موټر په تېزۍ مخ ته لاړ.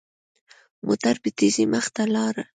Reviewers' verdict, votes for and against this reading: accepted, 2, 1